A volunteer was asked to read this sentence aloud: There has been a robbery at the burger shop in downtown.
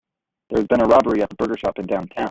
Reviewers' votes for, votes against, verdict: 2, 1, accepted